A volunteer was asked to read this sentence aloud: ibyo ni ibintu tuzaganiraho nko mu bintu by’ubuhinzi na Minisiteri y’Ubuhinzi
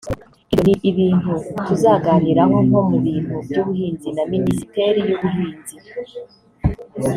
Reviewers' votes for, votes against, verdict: 0, 2, rejected